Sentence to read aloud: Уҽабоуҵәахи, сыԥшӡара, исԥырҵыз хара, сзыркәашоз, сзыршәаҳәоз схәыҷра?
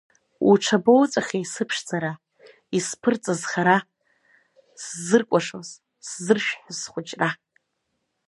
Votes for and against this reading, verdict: 0, 2, rejected